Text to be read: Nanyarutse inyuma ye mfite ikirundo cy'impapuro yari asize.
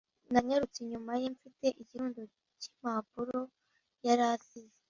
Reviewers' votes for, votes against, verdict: 2, 0, accepted